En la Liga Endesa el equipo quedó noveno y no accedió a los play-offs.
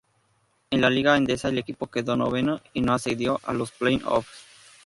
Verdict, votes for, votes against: rejected, 0, 2